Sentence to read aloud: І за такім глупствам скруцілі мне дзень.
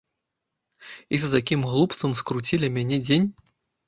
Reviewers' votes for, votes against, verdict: 0, 2, rejected